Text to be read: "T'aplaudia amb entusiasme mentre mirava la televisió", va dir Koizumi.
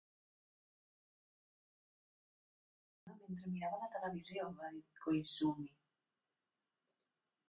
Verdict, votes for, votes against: rejected, 0, 2